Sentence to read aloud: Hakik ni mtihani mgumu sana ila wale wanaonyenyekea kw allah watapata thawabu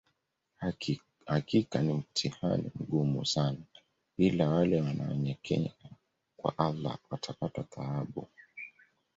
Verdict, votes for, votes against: rejected, 0, 2